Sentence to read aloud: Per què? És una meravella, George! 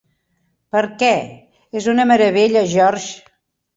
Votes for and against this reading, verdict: 3, 1, accepted